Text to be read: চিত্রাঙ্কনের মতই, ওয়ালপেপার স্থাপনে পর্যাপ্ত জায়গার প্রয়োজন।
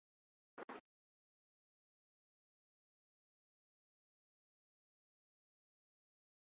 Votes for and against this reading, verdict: 0, 2, rejected